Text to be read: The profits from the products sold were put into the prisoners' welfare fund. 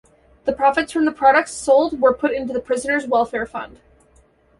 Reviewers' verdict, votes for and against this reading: accepted, 2, 0